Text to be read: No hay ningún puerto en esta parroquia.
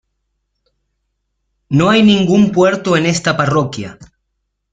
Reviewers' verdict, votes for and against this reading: accepted, 2, 0